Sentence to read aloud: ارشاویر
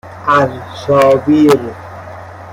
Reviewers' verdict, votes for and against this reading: rejected, 1, 2